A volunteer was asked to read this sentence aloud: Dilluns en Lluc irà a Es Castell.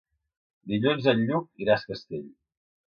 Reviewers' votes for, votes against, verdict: 3, 0, accepted